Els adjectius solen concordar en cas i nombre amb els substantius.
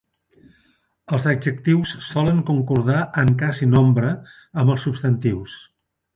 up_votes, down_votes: 2, 0